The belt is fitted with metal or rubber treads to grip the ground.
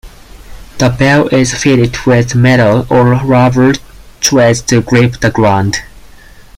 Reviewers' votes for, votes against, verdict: 2, 4, rejected